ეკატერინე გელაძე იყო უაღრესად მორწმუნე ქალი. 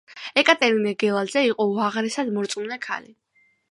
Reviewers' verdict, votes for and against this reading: accepted, 2, 0